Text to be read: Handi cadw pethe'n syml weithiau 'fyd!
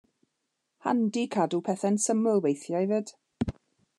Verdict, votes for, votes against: accepted, 2, 0